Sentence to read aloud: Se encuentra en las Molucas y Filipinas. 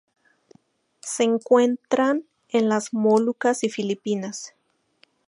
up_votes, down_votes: 0, 2